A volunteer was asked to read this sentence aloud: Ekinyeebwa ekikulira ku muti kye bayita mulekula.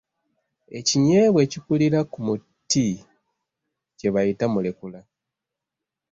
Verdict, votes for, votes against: accepted, 2, 1